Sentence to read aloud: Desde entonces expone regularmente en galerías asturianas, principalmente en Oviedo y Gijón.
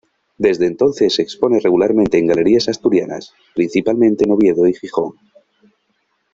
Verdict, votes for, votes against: accepted, 2, 0